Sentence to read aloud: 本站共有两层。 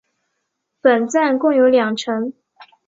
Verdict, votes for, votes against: accepted, 3, 0